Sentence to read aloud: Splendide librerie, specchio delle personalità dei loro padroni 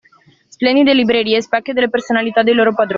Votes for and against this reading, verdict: 2, 1, accepted